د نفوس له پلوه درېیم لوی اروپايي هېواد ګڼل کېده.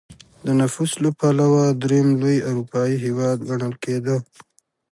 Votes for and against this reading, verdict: 2, 0, accepted